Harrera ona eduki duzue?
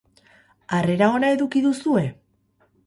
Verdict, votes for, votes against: rejected, 2, 2